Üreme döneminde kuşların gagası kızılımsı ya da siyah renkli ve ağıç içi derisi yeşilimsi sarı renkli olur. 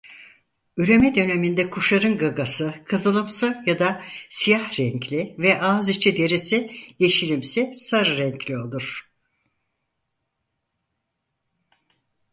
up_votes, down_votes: 0, 4